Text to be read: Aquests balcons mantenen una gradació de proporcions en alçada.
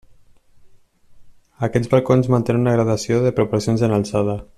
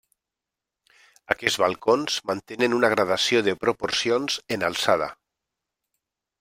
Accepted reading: second